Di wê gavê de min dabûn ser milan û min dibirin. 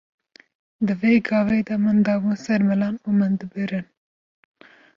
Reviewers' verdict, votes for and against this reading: rejected, 1, 2